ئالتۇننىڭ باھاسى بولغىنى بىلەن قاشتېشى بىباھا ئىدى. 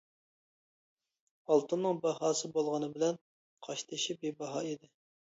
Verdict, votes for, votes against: accepted, 2, 0